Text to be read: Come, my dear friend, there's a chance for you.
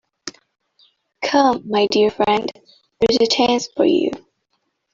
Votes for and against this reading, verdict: 2, 0, accepted